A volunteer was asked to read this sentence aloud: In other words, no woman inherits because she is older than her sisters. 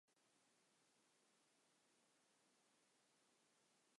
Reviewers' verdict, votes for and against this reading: rejected, 0, 3